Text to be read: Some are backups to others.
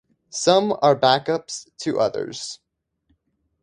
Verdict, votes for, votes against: accepted, 2, 0